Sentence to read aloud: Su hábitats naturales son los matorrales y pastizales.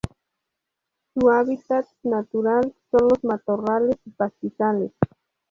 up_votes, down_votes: 0, 2